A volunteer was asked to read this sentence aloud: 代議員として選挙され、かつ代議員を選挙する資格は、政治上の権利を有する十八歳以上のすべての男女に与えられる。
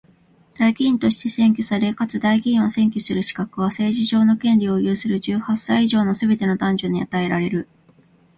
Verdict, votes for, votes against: rejected, 1, 2